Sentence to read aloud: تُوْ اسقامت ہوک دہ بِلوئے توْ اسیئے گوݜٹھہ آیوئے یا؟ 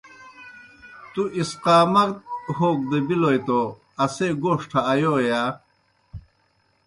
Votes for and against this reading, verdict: 2, 0, accepted